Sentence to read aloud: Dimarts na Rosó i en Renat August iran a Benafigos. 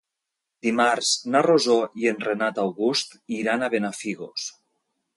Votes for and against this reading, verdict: 2, 0, accepted